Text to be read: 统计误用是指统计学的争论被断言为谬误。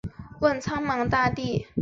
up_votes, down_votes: 0, 2